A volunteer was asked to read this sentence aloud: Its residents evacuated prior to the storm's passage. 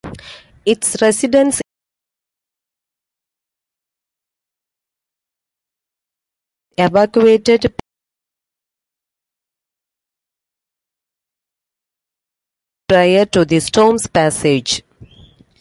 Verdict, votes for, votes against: rejected, 0, 2